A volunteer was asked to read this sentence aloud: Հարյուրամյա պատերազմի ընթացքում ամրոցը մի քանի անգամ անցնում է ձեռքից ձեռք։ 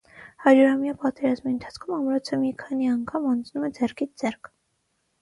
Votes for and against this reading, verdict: 3, 3, rejected